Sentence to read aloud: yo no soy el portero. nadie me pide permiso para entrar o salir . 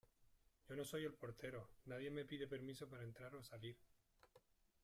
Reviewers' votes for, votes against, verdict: 2, 1, accepted